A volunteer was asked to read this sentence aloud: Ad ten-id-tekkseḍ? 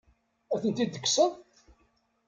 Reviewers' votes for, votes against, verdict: 1, 2, rejected